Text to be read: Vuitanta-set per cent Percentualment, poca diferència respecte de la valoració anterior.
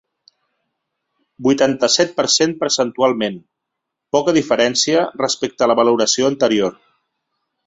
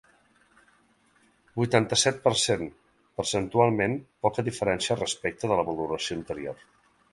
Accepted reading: second